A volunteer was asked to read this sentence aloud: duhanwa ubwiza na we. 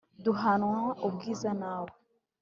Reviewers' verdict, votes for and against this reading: accepted, 3, 0